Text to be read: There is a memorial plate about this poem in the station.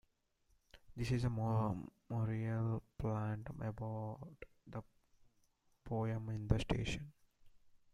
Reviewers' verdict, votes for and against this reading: rejected, 0, 2